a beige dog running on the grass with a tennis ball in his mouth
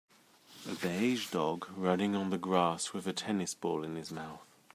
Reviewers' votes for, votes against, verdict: 2, 0, accepted